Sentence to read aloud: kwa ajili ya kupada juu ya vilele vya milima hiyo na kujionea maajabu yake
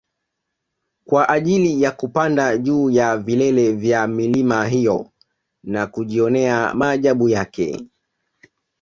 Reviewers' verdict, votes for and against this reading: accepted, 2, 0